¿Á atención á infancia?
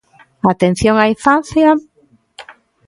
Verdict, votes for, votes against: accepted, 2, 0